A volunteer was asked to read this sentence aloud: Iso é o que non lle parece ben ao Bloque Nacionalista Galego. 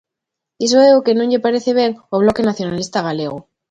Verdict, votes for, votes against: accepted, 2, 0